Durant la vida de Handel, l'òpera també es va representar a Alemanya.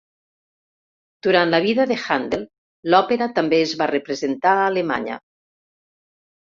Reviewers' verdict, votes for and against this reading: accepted, 2, 0